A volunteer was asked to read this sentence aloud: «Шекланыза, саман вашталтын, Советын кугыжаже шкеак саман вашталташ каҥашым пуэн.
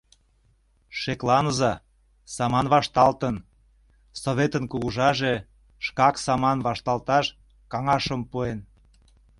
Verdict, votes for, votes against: rejected, 0, 2